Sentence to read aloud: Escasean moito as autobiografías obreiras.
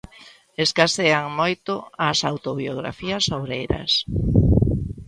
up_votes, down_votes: 2, 0